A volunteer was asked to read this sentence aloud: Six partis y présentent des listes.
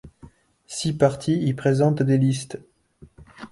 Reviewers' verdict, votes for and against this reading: accepted, 3, 0